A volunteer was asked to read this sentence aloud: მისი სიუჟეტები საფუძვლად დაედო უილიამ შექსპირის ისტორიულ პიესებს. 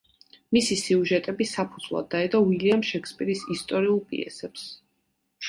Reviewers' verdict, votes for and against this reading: accepted, 2, 0